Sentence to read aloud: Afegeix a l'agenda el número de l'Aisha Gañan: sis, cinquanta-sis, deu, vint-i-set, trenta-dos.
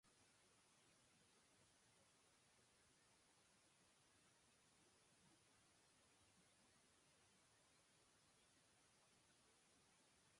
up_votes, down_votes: 0, 2